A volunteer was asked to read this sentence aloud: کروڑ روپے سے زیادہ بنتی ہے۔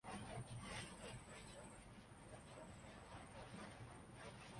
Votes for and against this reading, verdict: 0, 3, rejected